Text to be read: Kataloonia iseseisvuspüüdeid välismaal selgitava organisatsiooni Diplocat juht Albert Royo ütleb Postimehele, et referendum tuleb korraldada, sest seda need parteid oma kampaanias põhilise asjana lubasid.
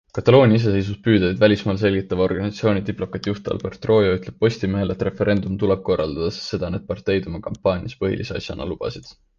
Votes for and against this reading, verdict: 2, 0, accepted